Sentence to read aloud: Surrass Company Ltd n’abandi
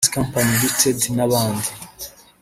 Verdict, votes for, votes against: rejected, 1, 2